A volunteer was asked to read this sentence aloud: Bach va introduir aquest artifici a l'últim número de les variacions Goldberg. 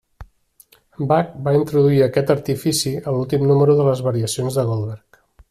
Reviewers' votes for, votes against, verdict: 1, 2, rejected